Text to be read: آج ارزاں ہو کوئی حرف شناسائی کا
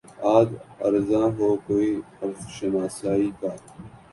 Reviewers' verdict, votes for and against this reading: accepted, 5, 0